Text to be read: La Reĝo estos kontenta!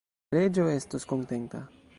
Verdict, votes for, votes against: rejected, 1, 2